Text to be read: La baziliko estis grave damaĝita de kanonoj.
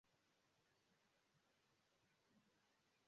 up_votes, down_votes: 0, 2